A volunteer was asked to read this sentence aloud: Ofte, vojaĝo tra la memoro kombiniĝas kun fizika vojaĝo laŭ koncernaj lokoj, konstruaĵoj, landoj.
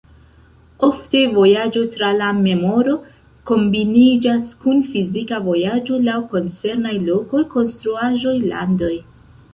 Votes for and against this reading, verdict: 1, 2, rejected